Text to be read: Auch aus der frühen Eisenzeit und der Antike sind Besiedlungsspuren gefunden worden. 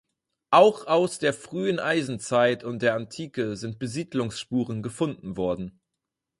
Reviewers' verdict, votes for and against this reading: accepted, 4, 0